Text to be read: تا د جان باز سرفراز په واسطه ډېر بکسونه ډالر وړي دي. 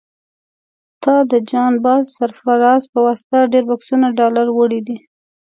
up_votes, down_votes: 2, 0